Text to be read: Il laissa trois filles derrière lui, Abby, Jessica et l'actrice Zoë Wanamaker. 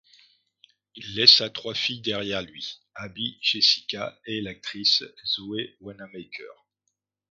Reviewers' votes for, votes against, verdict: 2, 0, accepted